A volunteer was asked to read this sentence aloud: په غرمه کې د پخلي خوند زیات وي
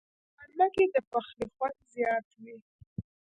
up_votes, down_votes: 1, 2